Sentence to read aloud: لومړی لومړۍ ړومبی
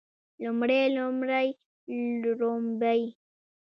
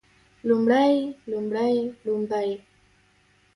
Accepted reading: first